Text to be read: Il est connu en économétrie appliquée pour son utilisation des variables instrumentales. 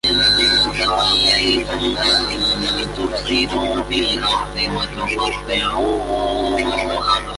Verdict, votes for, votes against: rejected, 0, 2